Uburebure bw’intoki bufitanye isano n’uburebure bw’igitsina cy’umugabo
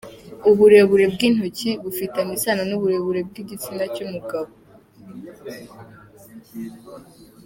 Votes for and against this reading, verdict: 2, 0, accepted